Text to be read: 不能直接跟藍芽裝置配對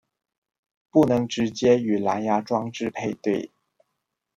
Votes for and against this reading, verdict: 0, 2, rejected